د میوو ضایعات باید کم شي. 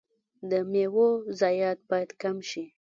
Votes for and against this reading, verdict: 0, 2, rejected